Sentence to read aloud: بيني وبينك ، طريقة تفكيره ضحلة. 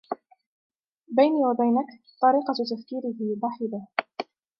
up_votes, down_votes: 2, 1